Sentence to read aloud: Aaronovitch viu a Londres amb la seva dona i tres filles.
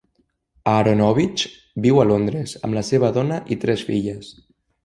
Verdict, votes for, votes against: accepted, 2, 0